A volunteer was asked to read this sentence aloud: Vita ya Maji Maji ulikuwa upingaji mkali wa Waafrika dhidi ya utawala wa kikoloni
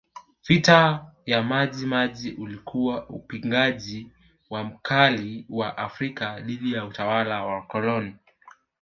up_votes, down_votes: 2, 1